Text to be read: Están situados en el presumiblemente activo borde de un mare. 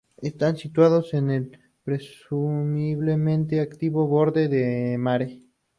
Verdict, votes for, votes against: rejected, 0, 2